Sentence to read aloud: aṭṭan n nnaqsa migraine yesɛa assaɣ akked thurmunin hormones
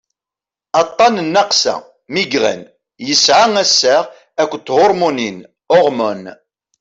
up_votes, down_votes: 2, 0